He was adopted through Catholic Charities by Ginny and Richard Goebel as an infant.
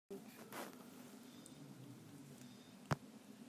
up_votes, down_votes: 0, 2